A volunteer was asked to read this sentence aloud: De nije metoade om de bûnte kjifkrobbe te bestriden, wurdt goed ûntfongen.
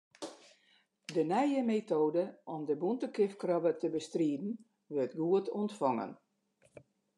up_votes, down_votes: 2, 0